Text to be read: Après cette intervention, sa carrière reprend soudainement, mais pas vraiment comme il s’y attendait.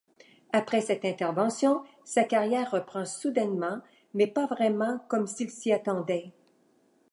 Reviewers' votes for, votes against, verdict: 1, 2, rejected